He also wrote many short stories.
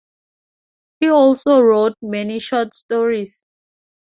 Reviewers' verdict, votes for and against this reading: accepted, 2, 0